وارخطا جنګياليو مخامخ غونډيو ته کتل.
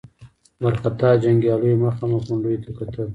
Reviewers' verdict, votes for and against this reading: accepted, 2, 0